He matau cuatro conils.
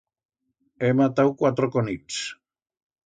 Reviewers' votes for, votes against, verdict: 1, 2, rejected